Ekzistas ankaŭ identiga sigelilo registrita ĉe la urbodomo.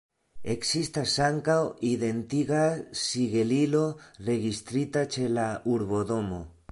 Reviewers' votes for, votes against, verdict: 2, 0, accepted